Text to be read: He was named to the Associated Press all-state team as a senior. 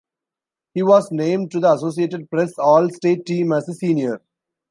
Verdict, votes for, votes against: rejected, 0, 2